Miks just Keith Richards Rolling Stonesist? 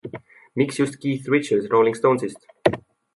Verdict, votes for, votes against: accepted, 2, 0